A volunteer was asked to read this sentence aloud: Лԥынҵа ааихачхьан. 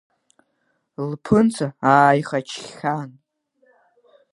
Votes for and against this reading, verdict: 2, 0, accepted